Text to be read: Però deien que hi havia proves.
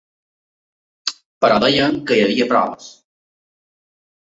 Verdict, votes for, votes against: accepted, 3, 0